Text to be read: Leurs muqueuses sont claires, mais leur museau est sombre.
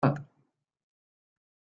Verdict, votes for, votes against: rejected, 0, 2